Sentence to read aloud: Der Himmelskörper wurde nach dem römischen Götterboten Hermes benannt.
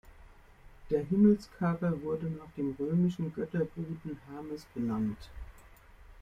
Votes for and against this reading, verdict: 0, 2, rejected